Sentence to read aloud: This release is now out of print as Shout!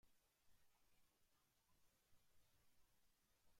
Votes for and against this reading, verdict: 0, 2, rejected